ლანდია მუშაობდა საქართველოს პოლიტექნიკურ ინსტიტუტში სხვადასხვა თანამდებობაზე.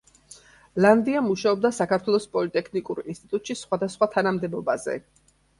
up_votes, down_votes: 2, 0